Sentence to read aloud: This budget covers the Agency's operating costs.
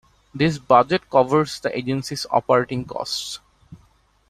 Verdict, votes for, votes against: accepted, 2, 0